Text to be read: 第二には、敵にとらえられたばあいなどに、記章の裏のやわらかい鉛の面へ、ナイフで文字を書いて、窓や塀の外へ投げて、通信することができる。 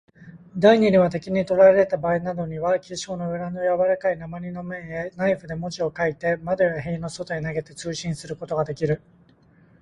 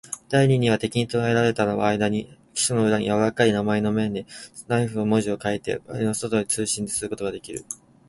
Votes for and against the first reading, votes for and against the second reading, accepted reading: 2, 1, 2, 6, first